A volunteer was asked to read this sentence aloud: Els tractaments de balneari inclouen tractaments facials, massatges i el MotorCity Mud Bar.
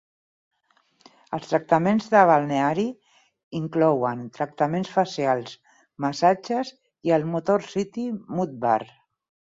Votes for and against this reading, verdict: 12, 2, accepted